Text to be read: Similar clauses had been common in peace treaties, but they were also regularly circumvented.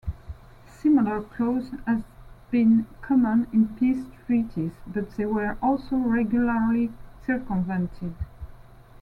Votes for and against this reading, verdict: 0, 2, rejected